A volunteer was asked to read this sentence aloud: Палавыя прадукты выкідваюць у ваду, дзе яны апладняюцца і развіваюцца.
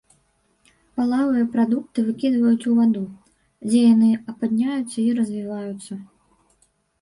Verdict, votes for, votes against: rejected, 1, 2